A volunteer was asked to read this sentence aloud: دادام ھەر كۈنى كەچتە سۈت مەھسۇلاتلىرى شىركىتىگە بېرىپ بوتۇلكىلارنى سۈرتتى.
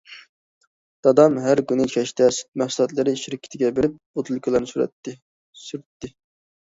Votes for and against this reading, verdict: 0, 2, rejected